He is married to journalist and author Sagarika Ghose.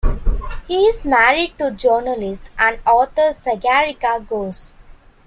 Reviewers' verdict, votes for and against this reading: accepted, 2, 0